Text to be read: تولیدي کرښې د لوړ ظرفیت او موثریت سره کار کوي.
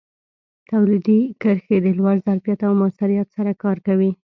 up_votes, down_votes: 2, 0